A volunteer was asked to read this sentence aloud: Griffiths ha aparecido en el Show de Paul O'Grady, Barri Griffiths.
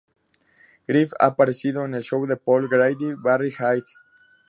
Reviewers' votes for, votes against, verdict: 0, 2, rejected